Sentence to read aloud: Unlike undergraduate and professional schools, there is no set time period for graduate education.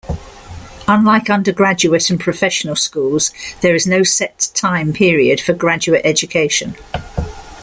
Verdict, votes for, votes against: rejected, 1, 2